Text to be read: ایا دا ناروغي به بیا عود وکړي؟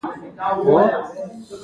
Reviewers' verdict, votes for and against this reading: accepted, 2, 1